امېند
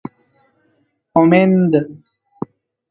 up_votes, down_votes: 1, 2